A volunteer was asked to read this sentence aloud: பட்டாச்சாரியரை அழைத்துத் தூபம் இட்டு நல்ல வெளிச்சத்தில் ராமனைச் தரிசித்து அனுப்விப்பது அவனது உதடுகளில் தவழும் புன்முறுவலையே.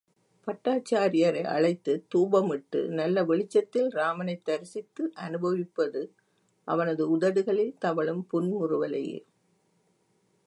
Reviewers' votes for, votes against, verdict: 2, 0, accepted